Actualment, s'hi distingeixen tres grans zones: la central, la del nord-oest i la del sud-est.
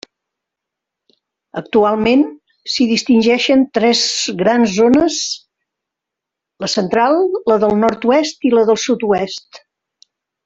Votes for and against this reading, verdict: 0, 2, rejected